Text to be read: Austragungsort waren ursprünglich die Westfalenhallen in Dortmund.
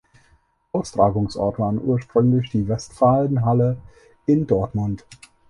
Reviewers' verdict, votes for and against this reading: rejected, 2, 6